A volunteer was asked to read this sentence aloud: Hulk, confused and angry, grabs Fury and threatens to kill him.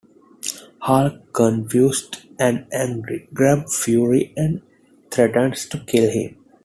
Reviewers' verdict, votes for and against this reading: rejected, 0, 2